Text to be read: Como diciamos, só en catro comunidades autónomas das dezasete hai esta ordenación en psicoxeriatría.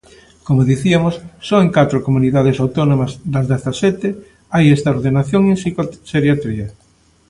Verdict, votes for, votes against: rejected, 1, 2